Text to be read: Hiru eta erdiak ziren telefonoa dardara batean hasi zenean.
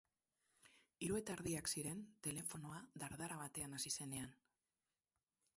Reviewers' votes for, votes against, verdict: 2, 2, rejected